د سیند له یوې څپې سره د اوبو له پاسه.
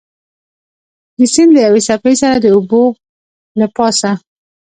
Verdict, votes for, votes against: rejected, 1, 2